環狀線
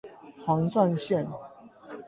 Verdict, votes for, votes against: rejected, 4, 8